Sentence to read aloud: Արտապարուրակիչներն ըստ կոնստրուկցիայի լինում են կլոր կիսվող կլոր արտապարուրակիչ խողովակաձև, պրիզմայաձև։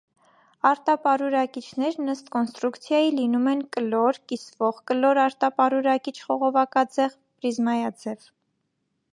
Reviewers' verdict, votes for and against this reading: accepted, 2, 0